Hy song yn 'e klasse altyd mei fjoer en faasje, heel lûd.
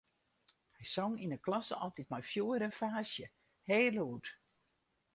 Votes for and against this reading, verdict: 4, 0, accepted